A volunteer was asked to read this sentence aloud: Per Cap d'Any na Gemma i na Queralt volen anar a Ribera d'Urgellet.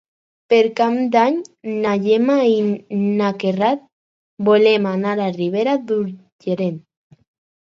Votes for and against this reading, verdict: 2, 4, rejected